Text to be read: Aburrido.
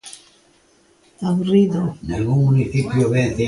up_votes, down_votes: 0, 2